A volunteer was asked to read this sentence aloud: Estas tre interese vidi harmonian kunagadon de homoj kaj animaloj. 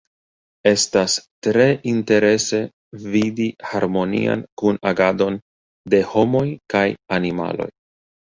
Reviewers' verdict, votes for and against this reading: rejected, 1, 2